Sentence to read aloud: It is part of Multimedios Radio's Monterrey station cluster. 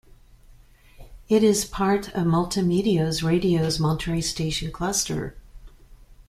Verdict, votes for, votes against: accepted, 2, 0